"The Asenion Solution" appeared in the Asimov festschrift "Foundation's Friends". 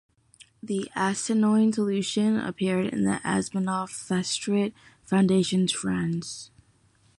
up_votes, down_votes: 1, 2